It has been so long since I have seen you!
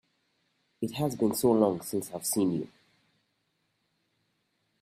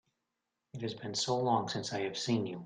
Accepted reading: second